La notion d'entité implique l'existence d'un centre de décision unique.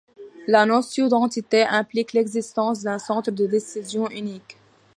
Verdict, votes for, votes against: accepted, 2, 0